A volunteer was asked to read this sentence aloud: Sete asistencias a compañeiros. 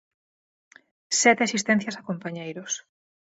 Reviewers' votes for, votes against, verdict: 4, 0, accepted